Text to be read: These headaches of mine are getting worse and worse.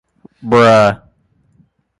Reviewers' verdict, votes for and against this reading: rejected, 0, 2